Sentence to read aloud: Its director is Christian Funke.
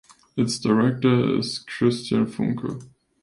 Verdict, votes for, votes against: rejected, 0, 2